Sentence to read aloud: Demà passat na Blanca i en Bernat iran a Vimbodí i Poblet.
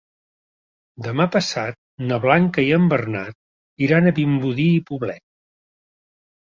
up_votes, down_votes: 2, 0